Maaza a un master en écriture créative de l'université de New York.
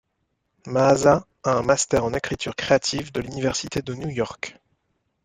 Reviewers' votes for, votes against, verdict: 2, 0, accepted